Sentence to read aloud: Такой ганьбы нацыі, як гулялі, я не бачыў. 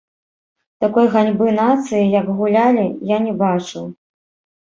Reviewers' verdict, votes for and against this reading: rejected, 1, 2